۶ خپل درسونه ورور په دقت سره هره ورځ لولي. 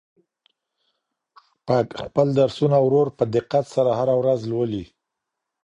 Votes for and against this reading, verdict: 0, 2, rejected